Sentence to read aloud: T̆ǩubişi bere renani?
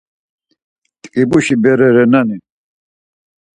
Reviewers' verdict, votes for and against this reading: rejected, 2, 4